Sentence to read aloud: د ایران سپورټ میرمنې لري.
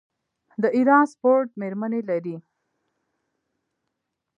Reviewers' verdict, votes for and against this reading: accepted, 2, 0